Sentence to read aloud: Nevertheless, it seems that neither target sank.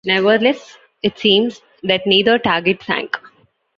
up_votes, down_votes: 2, 0